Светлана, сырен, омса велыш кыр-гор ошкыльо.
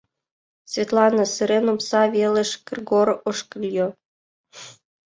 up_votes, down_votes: 1, 2